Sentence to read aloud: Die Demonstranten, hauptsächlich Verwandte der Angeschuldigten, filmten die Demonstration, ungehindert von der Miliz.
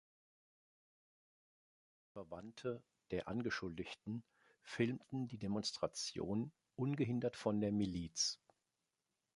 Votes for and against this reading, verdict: 0, 2, rejected